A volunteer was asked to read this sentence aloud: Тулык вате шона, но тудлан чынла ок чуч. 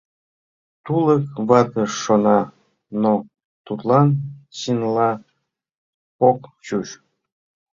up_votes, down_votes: 2, 1